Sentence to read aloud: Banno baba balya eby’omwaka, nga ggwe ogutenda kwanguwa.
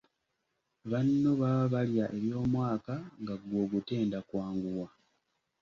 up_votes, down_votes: 2, 0